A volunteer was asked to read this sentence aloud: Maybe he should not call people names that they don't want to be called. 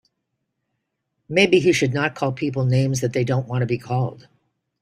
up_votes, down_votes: 3, 0